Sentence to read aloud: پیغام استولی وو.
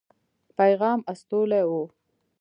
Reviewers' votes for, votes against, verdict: 2, 1, accepted